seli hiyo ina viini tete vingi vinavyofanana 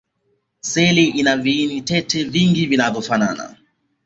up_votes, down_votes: 2, 1